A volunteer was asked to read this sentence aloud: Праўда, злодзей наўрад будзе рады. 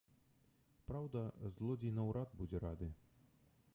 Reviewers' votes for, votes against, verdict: 1, 2, rejected